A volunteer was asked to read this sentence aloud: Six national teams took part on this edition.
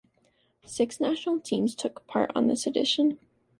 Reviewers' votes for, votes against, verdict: 2, 1, accepted